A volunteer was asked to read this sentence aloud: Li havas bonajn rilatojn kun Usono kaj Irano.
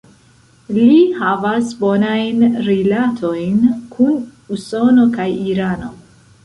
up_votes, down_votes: 1, 2